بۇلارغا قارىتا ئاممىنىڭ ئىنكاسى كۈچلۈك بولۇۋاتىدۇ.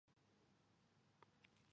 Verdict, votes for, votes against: rejected, 0, 2